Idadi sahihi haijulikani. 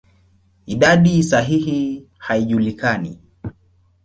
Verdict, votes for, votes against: accepted, 2, 0